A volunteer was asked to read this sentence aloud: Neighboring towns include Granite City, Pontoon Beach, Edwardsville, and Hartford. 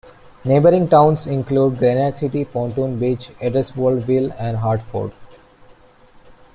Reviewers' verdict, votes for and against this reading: rejected, 0, 2